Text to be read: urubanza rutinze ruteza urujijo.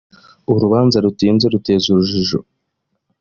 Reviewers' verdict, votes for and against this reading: accepted, 2, 0